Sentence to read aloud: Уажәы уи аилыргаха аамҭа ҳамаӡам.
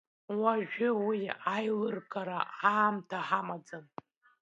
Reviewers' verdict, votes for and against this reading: rejected, 0, 2